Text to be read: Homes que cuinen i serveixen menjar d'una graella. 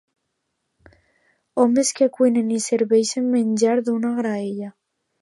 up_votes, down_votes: 2, 0